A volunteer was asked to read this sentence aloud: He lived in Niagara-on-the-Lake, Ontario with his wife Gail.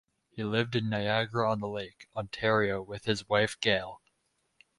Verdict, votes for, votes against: rejected, 2, 2